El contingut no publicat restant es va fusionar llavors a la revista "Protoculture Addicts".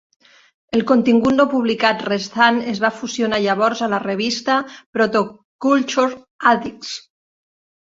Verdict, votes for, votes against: accepted, 2, 0